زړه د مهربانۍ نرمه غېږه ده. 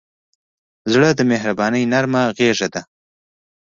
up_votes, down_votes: 2, 0